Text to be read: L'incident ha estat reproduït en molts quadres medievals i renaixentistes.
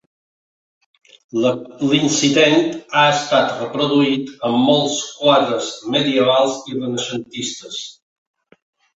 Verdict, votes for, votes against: accepted, 2, 1